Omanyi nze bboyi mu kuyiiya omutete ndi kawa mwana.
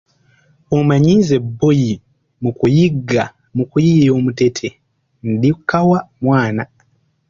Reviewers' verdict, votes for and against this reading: rejected, 0, 2